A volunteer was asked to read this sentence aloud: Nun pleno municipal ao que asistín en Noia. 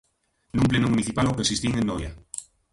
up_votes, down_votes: 1, 2